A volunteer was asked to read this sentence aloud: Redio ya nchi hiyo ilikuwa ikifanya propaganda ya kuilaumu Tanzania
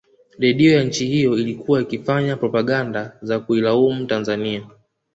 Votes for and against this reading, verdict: 1, 2, rejected